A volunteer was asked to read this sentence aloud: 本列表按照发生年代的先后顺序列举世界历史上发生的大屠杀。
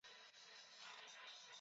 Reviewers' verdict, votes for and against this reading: rejected, 0, 2